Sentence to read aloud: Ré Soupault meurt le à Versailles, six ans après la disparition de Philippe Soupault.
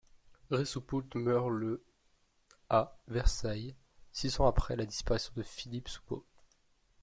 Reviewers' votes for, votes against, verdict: 0, 2, rejected